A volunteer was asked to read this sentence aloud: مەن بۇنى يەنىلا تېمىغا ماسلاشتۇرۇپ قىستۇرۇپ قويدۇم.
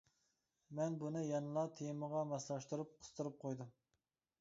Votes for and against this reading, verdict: 2, 0, accepted